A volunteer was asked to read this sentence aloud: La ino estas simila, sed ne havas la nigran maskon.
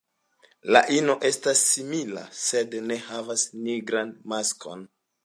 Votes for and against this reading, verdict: 2, 0, accepted